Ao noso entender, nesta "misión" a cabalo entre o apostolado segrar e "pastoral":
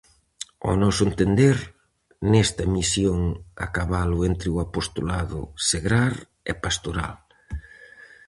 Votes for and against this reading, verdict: 4, 0, accepted